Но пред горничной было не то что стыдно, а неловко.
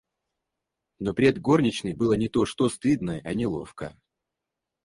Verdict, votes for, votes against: rejected, 0, 4